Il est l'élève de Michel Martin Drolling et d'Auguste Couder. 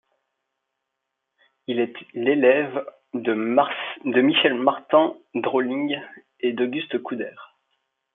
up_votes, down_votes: 1, 2